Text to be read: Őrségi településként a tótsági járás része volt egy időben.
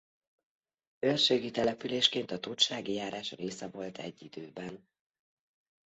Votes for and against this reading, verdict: 2, 0, accepted